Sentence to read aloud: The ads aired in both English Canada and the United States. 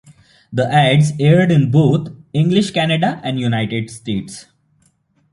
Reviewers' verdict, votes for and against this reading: accepted, 2, 0